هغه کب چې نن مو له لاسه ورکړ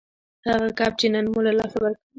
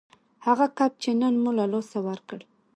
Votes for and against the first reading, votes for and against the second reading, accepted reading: 1, 2, 2, 0, second